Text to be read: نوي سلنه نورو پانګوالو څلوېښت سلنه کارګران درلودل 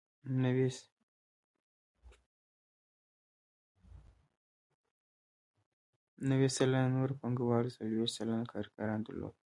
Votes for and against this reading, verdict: 0, 2, rejected